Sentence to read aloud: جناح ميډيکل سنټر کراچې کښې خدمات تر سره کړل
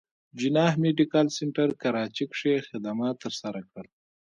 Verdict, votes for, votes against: accepted, 3, 1